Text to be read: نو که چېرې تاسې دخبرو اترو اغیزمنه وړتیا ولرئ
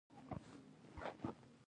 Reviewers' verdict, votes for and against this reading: rejected, 0, 2